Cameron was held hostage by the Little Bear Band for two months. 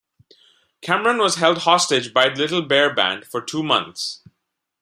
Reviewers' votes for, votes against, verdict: 2, 0, accepted